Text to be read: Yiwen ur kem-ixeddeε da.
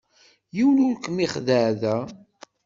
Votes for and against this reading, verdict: 3, 0, accepted